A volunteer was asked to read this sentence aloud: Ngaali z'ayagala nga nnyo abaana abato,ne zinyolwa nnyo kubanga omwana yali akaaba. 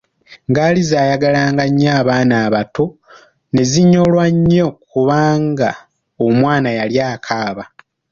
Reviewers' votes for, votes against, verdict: 2, 0, accepted